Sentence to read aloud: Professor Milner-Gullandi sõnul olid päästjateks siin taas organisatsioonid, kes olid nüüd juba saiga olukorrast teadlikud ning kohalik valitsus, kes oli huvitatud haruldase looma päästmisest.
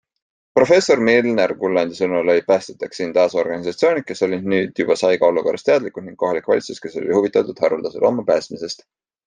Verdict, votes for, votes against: accepted, 2, 1